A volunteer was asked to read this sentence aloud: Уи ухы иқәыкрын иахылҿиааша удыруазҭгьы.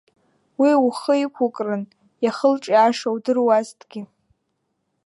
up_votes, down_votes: 2, 1